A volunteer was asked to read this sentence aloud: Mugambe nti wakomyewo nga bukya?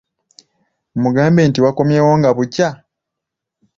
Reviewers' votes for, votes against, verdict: 2, 0, accepted